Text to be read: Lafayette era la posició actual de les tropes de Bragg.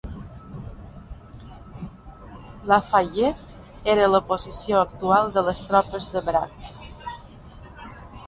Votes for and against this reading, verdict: 1, 2, rejected